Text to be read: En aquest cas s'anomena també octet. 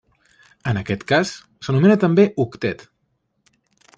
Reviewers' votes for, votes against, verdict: 0, 2, rejected